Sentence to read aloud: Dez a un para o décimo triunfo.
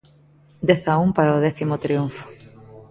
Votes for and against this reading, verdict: 0, 2, rejected